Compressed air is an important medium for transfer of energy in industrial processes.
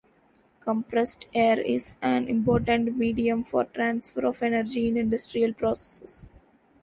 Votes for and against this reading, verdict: 2, 3, rejected